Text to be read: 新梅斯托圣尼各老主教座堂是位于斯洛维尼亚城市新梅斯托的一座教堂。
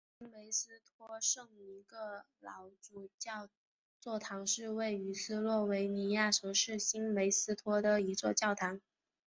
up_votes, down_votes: 1, 2